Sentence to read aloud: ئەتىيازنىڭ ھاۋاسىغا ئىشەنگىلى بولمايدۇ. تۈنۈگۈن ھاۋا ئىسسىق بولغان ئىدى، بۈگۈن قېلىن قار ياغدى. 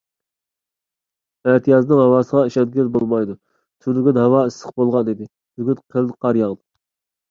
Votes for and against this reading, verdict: 2, 0, accepted